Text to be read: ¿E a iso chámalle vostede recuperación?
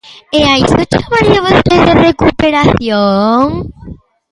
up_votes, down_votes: 1, 2